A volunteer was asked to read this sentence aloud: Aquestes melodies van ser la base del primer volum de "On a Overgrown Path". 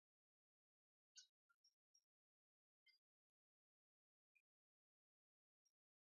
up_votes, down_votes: 0, 5